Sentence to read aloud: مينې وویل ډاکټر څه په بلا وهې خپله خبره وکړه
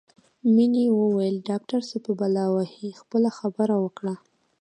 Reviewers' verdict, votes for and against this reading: accepted, 2, 1